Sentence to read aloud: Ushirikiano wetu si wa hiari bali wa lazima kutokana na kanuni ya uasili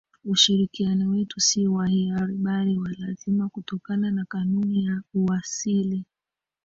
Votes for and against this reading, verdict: 1, 2, rejected